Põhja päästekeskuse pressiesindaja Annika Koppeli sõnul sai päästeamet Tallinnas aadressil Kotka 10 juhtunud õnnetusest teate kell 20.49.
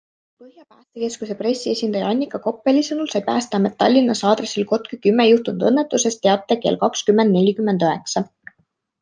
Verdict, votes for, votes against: rejected, 0, 2